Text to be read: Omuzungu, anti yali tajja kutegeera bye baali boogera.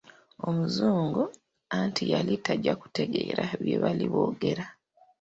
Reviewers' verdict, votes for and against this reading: accepted, 2, 1